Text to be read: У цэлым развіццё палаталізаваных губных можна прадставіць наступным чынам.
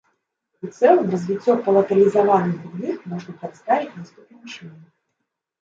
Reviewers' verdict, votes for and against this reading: rejected, 0, 2